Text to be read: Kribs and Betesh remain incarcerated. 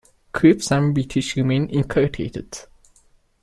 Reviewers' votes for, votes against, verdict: 0, 2, rejected